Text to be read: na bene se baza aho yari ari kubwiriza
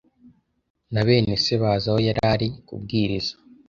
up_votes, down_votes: 2, 0